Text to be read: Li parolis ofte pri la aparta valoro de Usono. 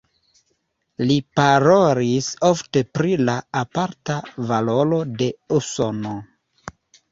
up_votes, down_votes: 0, 2